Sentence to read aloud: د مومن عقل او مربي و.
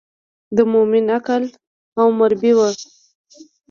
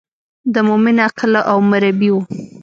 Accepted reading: first